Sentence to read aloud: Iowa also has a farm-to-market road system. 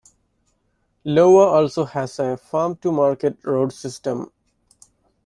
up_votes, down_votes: 0, 2